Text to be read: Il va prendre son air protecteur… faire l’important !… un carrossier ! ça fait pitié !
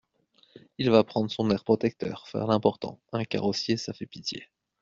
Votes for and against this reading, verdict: 2, 0, accepted